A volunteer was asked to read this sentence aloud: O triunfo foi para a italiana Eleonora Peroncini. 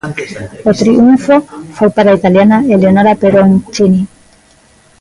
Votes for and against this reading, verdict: 1, 2, rejected